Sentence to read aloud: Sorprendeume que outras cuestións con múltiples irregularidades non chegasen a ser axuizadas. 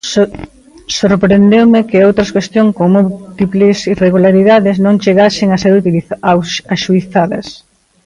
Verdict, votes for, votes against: rejected, 0, 2